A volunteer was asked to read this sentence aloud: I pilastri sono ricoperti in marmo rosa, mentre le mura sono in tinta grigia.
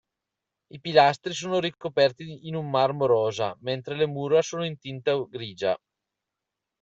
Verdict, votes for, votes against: rejected, 0, 2